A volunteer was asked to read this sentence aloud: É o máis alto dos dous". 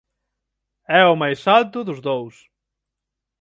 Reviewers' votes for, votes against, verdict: 6, 0, accepted